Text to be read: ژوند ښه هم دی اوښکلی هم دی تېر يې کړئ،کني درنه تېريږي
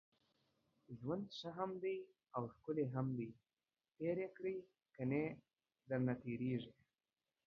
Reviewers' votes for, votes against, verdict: 2, 1, accepted